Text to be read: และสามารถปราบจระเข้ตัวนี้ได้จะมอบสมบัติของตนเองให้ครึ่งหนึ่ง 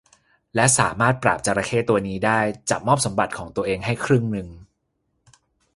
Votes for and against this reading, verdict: 0, 2, rejected